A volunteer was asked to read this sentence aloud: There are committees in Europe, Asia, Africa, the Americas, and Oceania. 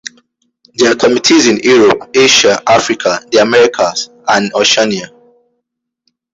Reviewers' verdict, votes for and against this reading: accepted, 2, 1